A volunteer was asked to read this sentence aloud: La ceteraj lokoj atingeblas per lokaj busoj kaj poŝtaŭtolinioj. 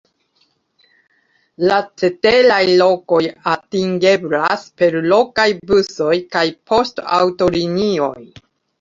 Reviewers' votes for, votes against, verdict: 1, 2, rejected